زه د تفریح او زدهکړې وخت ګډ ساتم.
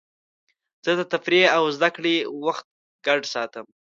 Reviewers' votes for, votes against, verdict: 2, 0, accepted